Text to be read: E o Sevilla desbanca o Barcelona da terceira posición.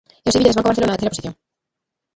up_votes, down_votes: 0, 2